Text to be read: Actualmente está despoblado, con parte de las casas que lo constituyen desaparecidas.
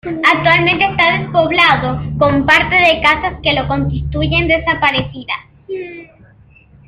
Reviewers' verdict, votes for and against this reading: rejected, 0, 2